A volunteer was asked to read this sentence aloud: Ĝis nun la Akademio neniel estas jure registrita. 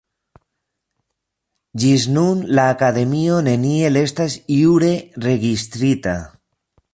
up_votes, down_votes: 2, 0